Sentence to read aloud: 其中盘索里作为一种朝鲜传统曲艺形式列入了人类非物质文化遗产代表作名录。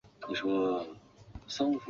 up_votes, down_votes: 0, 3